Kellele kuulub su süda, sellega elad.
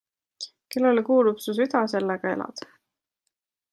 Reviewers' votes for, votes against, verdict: 2, 0, accepted